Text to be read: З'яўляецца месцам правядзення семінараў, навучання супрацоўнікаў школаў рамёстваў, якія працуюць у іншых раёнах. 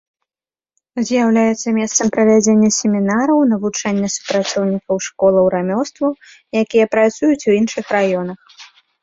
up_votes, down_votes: 2, 0